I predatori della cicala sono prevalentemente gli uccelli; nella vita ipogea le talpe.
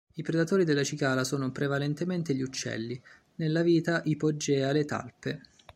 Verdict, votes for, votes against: accepted, 2, 0